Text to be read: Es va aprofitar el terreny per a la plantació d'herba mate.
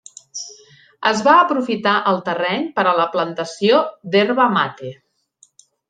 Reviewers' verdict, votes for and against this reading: accepted, 3, 0